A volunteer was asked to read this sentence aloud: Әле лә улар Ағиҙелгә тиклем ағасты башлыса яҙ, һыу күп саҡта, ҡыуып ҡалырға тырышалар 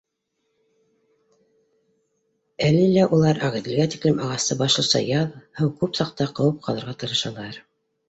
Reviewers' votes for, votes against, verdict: 2, 1, accepted